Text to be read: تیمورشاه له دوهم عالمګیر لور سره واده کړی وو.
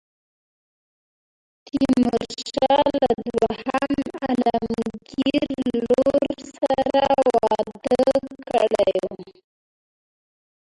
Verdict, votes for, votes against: rejected, 1, 2